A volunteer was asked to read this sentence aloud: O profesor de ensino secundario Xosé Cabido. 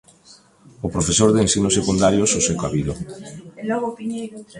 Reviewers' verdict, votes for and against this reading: rejected, 0, 2